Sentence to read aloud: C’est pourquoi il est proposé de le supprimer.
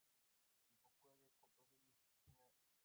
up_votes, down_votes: 0, 2